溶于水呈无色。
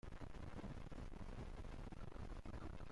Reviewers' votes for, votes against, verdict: 0, 2, rejected